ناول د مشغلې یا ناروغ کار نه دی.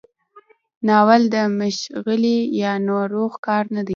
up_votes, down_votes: 1, 2